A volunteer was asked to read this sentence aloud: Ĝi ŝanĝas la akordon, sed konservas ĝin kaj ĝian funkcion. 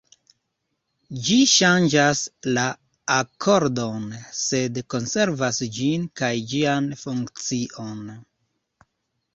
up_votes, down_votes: 2, 0